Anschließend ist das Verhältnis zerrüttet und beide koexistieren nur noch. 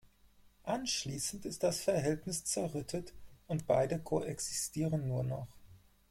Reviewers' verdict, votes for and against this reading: accepted, 4, 0